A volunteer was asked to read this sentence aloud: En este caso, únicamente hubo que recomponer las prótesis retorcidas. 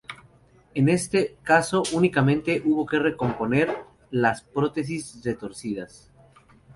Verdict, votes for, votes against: accepted, 2, 0